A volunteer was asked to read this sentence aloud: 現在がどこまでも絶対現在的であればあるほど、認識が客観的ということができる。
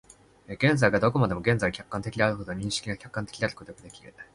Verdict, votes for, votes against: rejected, 0, 2